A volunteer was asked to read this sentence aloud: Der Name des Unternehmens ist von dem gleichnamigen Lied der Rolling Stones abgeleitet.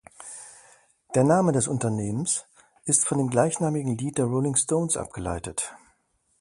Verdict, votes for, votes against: accepted, 2, 0